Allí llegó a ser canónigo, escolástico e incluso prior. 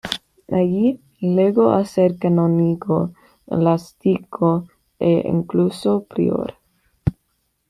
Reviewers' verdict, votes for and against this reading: rejected, 1, 2